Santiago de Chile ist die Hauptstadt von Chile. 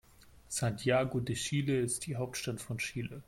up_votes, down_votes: 2, 0